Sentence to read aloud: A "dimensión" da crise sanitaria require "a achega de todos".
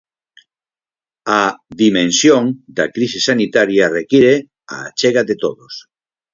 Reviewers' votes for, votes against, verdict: 4, 0, accepted